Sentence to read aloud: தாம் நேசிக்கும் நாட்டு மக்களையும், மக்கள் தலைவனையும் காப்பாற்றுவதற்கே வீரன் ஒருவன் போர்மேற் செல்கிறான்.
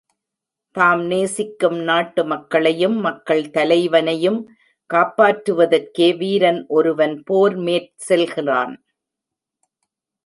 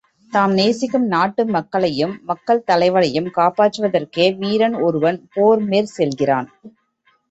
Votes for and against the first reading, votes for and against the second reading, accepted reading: 0, 2, 2, 0, second